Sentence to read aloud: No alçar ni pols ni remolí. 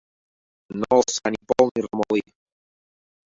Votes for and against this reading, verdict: 0, 2, rejected